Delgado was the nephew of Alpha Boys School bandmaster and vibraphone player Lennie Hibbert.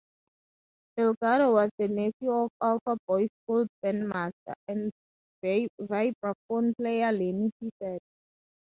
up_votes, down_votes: 0, 2